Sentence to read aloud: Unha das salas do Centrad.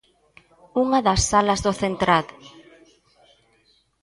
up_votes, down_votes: 1, 2